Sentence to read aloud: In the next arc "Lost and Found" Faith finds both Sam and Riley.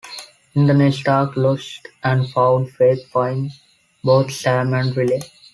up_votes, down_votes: 2, 1